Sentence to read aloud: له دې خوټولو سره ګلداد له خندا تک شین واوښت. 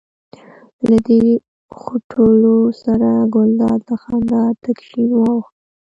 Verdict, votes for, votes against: rejected, 1, 2